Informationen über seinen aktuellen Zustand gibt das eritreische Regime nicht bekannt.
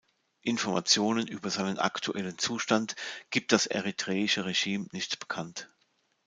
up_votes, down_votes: 2, 0